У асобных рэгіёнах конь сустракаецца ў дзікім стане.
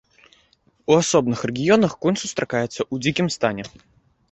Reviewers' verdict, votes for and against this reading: accepted, 2, 1